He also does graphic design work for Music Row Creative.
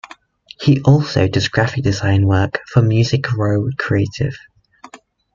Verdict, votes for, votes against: accepted, 2, 0